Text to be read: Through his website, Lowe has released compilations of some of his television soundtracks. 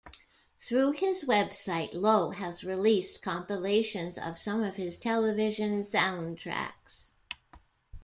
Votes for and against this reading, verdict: 2, 0, accepted